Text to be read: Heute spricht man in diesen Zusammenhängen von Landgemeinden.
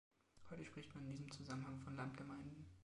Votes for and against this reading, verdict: 1, 2, rejected